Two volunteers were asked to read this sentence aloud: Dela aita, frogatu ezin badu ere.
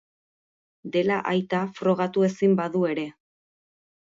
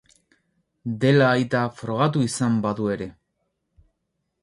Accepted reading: first